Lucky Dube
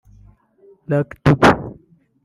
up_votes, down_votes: 2, 1